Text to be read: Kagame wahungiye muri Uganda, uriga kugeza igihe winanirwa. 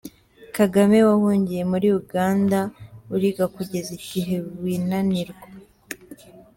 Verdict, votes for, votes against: accepted, 3, 0